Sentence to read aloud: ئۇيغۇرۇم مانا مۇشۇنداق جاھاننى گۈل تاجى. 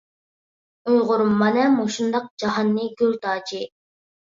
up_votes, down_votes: 1, 2